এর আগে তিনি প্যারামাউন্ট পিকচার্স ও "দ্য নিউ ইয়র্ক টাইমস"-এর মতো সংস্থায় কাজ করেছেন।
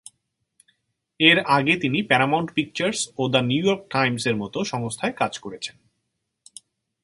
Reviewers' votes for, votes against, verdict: 3, 0, accepted